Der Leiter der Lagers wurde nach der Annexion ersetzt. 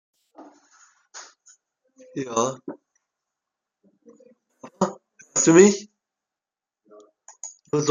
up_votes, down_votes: 0, 2